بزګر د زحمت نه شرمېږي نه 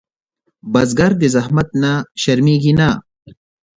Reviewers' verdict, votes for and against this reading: rejected, 0, 2